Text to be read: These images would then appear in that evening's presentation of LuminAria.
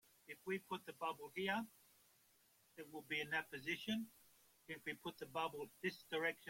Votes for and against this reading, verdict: 0, 2, rejected